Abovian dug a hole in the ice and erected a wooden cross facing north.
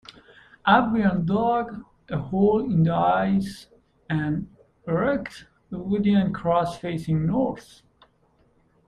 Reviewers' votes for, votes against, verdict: 1, 2, rejected